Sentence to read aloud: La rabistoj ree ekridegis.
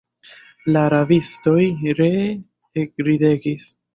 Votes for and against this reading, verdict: 0, 2, rejected